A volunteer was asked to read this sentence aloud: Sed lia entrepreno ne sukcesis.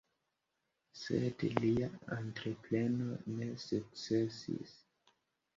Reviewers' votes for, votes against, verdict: 2, 0, accepted